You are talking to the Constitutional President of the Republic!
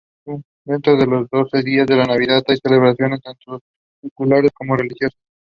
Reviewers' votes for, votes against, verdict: 0, 2, rejected